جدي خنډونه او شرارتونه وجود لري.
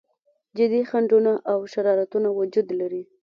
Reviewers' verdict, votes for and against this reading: accepted, 2, 1